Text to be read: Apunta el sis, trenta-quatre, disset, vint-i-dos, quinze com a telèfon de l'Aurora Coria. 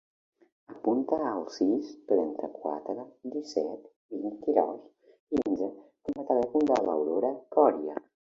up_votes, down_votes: 2, 1